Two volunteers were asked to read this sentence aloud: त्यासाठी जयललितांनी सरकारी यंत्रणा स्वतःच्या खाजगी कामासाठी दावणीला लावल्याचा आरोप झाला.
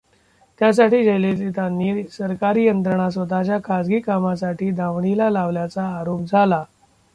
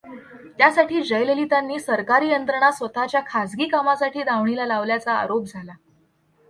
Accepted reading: second